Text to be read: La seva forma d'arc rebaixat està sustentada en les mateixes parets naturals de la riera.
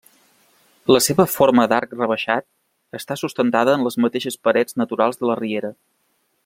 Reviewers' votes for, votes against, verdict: 3, 0, accepted